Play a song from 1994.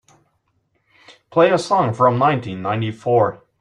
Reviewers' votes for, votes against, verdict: 0, 2, rejected